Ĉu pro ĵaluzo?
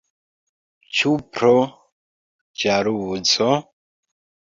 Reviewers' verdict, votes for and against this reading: rejected, 1, 2